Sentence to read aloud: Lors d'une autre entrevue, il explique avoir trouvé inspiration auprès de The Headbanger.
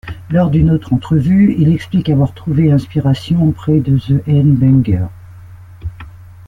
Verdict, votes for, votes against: rejected, 1, 2